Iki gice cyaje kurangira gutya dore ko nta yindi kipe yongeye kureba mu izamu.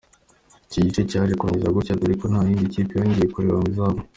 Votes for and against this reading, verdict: 2, 0, accepted